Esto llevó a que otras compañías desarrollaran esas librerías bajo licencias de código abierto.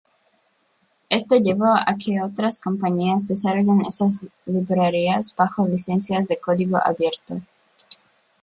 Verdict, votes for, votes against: rejected, 1, 2